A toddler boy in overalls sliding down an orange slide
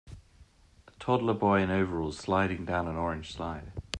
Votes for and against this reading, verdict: 2, 0, accepted